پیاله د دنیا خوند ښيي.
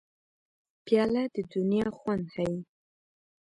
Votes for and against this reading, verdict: 2, 0, accepted